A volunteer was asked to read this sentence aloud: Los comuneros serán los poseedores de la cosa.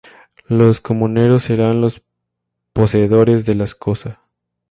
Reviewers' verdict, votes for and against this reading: rejected, 0, 2